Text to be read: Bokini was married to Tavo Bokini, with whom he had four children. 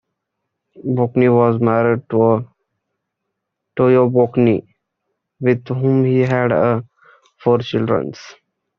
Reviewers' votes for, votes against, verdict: 0, 2, rejected